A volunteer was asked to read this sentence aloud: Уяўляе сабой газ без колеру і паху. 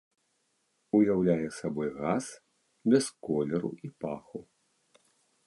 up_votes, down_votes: 1, 2